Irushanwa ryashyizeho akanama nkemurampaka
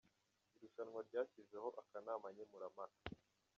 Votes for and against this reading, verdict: 1, 2, rejected